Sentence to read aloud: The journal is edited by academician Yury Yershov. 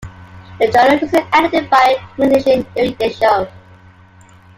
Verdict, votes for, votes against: rejected, 0, 2